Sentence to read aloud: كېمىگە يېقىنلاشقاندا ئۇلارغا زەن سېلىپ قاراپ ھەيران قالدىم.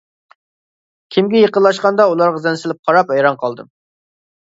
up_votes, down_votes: 2, 0